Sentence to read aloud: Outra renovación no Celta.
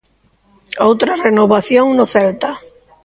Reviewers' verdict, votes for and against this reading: rejected, 0, 2